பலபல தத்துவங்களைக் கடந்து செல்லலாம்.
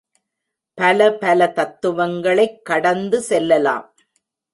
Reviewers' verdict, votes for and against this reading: accepted, 2, 0